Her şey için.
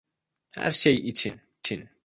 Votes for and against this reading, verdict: 0, 2, rejected